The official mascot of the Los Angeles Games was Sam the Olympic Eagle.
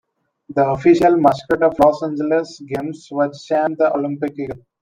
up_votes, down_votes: 0, 2